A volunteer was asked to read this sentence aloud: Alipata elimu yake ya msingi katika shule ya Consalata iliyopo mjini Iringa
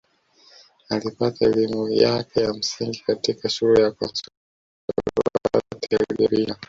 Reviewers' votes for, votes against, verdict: 1, 2, rejected